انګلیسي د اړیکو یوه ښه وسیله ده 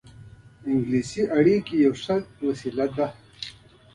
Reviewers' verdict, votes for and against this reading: rejected, 1, 2